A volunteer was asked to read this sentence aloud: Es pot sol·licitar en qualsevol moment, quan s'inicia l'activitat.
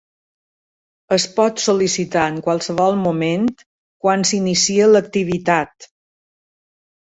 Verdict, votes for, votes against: accepted, 4, 0